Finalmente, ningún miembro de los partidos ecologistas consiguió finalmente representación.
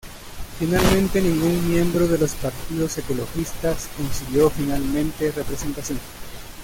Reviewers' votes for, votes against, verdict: 1, 2, rejected